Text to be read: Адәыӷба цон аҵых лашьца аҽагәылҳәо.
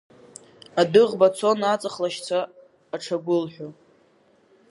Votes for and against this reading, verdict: 2, 3, rejected